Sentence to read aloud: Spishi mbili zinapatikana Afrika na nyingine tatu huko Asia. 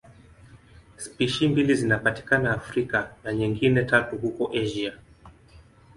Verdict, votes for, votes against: accepted, 2, 0